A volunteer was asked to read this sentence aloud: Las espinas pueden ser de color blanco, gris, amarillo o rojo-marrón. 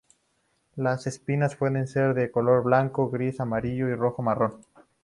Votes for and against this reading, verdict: 0, 2, rejected